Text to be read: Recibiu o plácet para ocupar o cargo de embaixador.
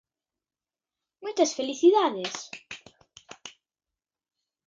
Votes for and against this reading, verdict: 0, 2, rejected